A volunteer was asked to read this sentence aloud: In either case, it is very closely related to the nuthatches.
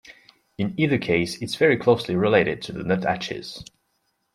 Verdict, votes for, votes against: accepted, 2, 1